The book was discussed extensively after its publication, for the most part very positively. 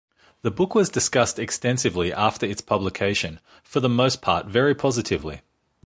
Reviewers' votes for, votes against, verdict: 2, 0, accepted